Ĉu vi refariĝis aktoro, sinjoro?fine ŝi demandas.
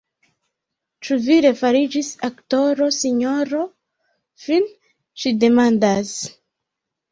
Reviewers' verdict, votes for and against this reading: rejected, 0, 2